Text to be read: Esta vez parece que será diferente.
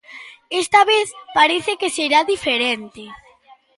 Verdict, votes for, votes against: rejected, 1, 2